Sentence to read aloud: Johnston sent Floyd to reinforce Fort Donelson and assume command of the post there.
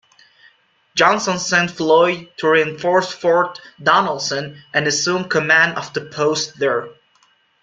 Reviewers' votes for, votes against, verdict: 2, 0, accepted